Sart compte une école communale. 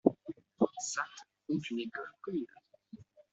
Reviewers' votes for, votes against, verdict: 0, 2, rejected